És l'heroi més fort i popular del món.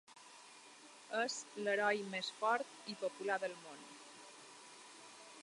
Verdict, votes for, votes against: accepted, 2, 0